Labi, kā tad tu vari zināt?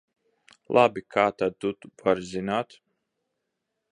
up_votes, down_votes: 0, 2